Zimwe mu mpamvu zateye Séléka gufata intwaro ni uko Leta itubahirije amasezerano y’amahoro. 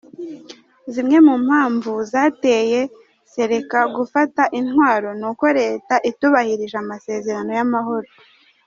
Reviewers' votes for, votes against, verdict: 2, 0, accepted